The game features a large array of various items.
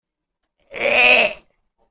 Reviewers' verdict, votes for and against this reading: rejected, 0, 2